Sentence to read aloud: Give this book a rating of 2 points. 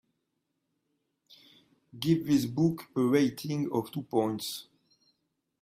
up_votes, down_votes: 0, 2